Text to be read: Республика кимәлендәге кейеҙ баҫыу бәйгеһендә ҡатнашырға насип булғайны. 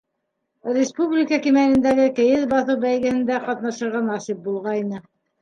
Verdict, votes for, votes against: accepted, 2, 0